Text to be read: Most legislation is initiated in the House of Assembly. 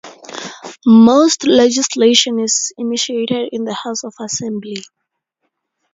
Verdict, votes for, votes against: accepted, 4, 0